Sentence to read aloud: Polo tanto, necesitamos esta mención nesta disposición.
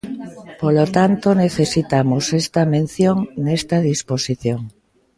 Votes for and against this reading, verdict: 2, 0, accepted